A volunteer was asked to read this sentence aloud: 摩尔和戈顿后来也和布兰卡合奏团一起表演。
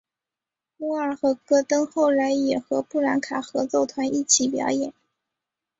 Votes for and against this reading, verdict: 1, 2, rejected